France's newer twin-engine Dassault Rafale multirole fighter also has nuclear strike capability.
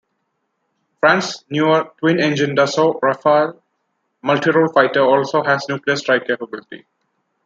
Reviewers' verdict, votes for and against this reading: rejected, 0, 2